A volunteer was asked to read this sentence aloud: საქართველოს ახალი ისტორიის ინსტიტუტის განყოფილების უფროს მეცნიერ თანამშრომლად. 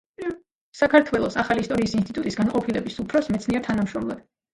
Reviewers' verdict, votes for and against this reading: rejected, 0, 2